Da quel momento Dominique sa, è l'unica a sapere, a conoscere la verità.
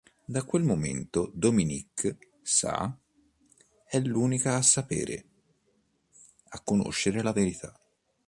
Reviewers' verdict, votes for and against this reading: accepted, 2, 0